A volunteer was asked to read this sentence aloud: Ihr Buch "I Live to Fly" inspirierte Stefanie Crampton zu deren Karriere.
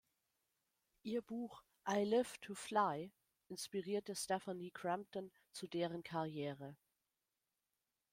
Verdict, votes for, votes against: accepted, 2, 0